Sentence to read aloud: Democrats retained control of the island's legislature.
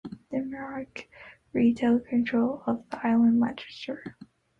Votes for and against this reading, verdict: 1, 3, rejected